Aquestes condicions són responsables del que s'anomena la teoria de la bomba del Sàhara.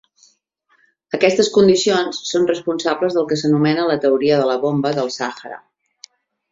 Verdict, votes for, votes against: accepted, 2, 0